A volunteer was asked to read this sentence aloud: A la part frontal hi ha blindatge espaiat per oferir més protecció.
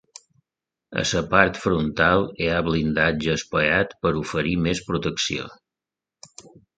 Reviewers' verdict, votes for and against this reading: rejected, 1, 2